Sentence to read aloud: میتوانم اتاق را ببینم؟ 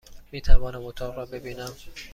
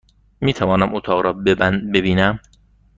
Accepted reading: first